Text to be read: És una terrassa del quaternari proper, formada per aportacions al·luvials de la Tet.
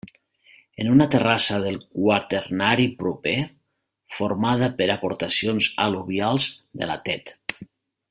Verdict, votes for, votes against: rejected, 1, 2